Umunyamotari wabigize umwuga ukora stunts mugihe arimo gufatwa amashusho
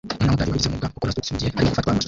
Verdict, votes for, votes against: rejected, 0, 2